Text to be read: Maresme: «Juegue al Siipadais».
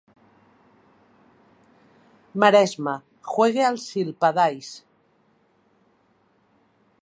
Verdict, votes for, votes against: rejected, 1, 2